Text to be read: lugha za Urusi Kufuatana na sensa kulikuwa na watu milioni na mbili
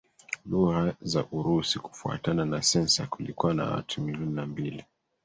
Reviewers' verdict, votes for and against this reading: accepted, 2, 0